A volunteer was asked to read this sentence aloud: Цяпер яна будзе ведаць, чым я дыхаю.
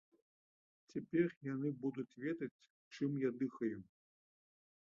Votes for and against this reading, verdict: 0, 2, rejected